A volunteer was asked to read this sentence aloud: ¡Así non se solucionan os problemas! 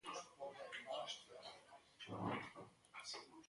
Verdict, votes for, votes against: rejected, 0, 2